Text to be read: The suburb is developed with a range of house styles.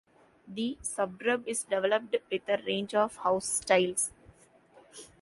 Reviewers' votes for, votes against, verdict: 0, 2, rejected